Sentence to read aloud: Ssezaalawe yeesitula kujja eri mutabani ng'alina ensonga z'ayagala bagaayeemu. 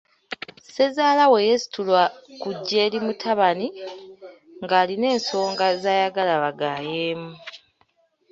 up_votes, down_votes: 0, 2